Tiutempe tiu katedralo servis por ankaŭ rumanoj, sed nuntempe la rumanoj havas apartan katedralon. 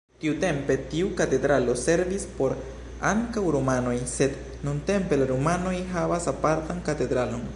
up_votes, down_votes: 1, 2